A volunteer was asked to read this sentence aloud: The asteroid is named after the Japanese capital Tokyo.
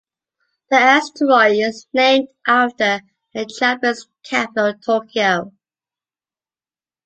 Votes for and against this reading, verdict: 2, 1, accepted